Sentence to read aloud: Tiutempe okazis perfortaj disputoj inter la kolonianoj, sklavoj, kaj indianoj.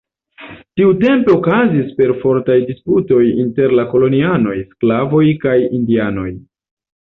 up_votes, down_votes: 2, 0